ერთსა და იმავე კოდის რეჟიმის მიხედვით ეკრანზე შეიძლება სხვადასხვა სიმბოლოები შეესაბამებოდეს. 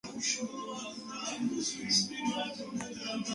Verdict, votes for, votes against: rejected, 0, 2